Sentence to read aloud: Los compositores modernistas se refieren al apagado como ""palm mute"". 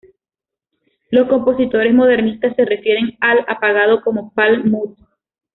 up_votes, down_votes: 2, 0